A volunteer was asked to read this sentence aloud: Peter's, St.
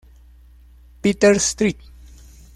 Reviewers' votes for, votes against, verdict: 1, 2, rejected